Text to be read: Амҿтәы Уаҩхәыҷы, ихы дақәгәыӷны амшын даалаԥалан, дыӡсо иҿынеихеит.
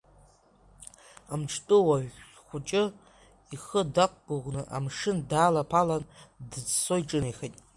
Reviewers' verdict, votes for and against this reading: rejected, 1, 2